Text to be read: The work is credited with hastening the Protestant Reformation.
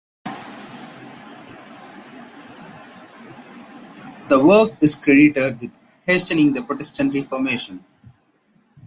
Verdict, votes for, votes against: rejected, 0, 2